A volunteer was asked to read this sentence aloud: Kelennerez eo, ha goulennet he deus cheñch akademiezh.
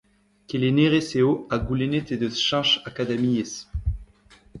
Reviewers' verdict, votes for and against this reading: rejected, 1, 2